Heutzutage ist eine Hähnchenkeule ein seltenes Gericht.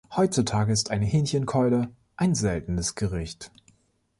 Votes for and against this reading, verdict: 2, 0, accepted